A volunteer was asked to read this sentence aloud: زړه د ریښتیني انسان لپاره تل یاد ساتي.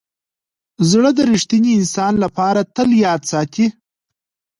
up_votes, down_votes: 2, 0